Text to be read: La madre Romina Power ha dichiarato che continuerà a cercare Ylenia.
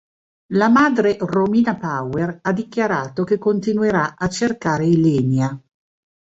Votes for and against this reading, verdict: 3, 0, accepted